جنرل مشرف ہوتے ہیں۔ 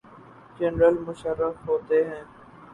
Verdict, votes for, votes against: rejected, 0, 2